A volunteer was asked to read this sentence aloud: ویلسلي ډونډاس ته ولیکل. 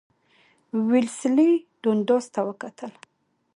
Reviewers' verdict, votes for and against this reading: rejected, 1, 2